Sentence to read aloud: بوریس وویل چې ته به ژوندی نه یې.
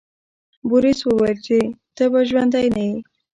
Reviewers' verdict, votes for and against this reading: accepted, 2, 0